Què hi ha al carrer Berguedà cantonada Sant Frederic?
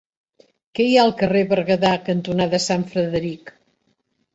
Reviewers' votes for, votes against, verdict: 3, 0, accepted